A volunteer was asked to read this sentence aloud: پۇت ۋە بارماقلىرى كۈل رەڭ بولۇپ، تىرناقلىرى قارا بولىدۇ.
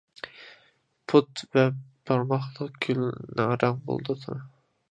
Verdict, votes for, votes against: rejected, 0, 2